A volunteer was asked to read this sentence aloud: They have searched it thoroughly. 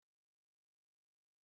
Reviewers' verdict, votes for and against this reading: rejected, 0, 4